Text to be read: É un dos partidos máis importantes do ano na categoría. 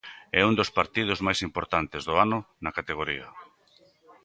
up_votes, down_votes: 2, 0